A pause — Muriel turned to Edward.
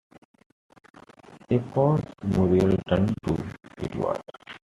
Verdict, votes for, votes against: accepted, 2, 0